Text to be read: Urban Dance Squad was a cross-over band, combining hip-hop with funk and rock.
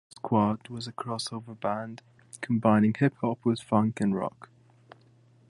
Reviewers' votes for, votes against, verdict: 0, 2, rejected